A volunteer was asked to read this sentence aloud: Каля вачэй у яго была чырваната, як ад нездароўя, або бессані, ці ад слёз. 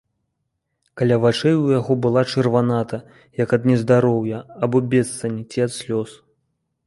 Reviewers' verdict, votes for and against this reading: rejected, 1, 2